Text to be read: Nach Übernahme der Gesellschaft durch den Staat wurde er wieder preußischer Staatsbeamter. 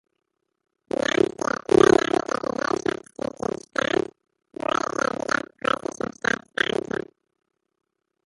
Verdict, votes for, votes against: rejected, 0, 2